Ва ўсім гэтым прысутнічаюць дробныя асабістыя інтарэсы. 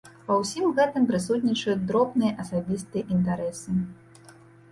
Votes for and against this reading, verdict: 2, 0, accepted